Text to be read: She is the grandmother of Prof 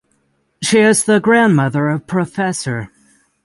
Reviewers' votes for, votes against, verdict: 0, 6, rejected